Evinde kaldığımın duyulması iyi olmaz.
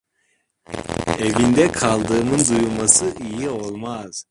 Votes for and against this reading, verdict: 1, 2, rejected